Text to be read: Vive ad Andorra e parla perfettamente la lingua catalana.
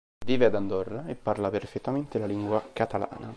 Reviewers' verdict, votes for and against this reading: accepted, 2, 0